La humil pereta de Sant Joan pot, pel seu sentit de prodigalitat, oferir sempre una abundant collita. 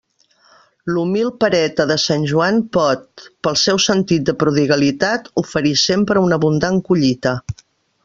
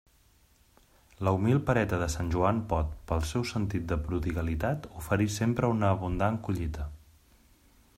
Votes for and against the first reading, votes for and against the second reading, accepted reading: 1, 2, 2, 0, second